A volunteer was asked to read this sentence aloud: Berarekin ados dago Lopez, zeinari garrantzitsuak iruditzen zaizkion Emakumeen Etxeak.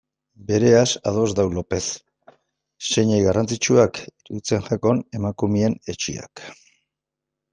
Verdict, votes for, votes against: rejected, 0, 2